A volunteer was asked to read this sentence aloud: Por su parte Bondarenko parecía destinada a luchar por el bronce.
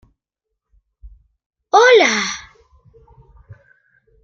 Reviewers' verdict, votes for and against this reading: rejected, 1, 2